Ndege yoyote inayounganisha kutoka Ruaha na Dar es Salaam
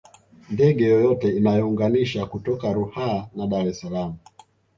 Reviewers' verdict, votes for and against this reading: rejected, 1, 2